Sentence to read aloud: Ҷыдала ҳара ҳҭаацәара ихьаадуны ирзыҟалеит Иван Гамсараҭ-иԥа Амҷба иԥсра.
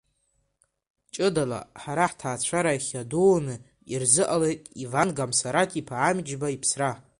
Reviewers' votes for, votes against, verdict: 2, 0, accepted